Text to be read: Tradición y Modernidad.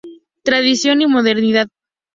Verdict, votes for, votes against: accepted, 2, 0